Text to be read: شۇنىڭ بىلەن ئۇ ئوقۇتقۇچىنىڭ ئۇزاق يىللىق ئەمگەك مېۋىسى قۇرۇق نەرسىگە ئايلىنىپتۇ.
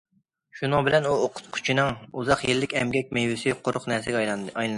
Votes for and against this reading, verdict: 0, 2, rejected